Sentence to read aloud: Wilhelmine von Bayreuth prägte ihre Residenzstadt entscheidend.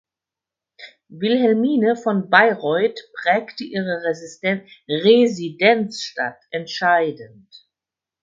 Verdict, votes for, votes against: rejected, 0, 4